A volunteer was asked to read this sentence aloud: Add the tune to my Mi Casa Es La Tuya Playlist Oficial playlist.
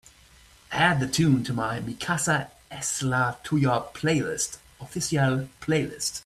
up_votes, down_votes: 2, 0